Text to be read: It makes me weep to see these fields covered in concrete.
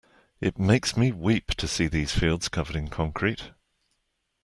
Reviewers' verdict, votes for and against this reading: accepted, 2, 0